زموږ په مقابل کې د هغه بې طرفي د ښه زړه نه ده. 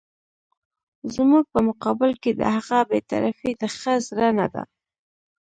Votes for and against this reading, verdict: 1, 2, rejected